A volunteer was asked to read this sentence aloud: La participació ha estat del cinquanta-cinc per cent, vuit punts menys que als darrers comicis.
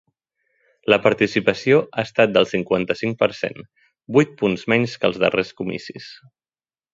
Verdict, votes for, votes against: accepted, 2, 0